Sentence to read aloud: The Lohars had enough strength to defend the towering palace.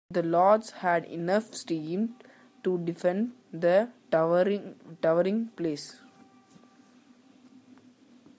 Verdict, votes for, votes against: rejected, 0, 2